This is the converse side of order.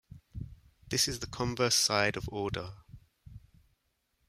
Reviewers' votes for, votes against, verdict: 2, 0, accepted